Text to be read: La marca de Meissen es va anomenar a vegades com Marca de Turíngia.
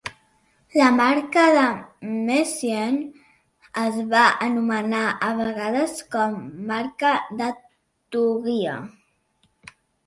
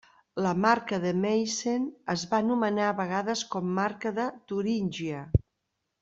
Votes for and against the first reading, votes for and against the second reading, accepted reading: 1, 2, 2, 0, second